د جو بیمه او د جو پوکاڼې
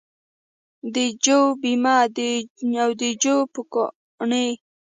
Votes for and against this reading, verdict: 1, 2, rejected